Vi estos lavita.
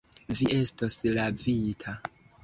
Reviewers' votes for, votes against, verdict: 0, 2, rejected